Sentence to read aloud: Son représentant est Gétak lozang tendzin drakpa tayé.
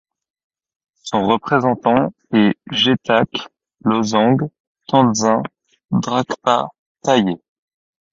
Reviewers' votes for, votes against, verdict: 2, 0, accepted